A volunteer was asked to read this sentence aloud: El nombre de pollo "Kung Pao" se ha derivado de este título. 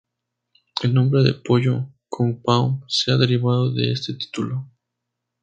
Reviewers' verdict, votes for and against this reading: accepted, 2, 0